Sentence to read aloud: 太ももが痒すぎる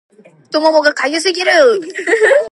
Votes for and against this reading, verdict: 2, 1, accepted